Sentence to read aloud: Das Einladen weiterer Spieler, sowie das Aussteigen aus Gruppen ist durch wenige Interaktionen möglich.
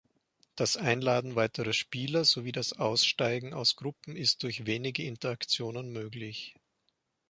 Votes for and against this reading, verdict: 5, 0, accepted